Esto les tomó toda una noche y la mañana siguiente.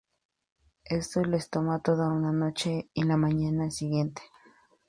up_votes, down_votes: 2, 0